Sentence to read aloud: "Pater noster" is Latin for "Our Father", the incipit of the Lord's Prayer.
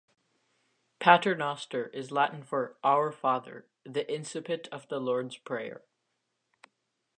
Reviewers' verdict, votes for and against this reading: accepted, 2, 0